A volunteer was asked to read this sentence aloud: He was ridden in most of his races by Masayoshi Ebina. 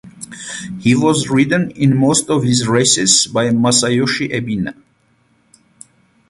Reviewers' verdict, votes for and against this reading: accepted, 8, 0